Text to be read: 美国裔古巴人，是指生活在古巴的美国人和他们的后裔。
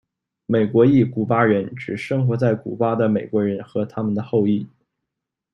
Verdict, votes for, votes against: accepted, 2, 1